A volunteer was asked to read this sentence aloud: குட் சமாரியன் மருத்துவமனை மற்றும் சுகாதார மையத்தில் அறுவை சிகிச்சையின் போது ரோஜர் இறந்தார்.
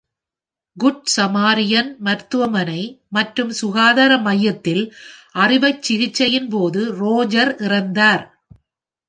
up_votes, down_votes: 0, 2